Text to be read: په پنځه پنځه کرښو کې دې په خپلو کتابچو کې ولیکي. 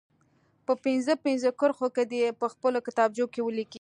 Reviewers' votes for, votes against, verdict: 2, 0, accepted